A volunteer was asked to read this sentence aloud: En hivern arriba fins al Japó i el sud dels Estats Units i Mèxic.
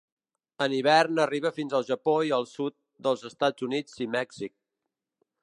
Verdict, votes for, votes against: accepted, 2, 0